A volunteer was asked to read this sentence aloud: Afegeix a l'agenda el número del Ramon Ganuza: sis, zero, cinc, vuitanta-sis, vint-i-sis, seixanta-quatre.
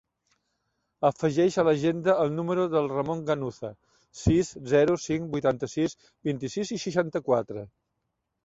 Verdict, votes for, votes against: rejected, 0, 2